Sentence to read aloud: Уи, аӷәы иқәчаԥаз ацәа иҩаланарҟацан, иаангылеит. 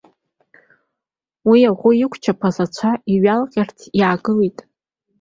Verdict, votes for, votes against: accepted, 2, 1